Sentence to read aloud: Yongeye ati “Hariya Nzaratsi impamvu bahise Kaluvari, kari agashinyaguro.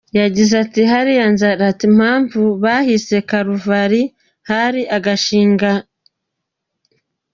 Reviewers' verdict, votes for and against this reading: rejected, 0, 2